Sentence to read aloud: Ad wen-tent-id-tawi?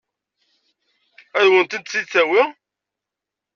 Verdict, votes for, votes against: accepted, 2, 0